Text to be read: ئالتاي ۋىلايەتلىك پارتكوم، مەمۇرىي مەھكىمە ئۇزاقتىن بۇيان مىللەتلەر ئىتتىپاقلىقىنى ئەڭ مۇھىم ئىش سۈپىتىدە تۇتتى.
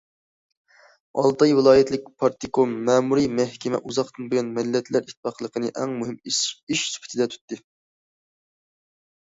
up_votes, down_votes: 2, 1